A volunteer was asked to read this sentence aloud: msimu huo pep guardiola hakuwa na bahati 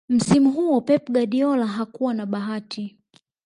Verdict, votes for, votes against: rejected, 0, 2